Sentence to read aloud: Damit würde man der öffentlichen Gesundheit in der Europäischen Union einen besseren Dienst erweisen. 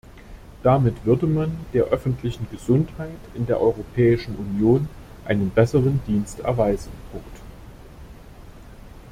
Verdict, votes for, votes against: rejected, 1, 2